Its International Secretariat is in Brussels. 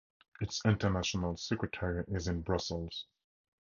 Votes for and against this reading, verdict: 2, 0, accepted